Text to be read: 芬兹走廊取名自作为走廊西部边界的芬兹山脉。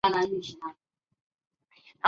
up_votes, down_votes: 0, 3